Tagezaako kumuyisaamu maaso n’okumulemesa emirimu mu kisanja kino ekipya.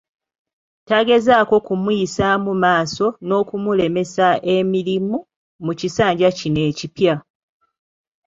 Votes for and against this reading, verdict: 0, 2, rejected